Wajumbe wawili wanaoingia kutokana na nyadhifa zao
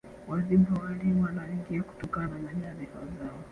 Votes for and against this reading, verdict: 2, 3, rejected